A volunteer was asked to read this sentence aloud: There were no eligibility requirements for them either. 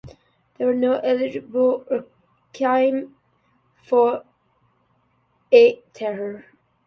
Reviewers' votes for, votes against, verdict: 0, 2, rejected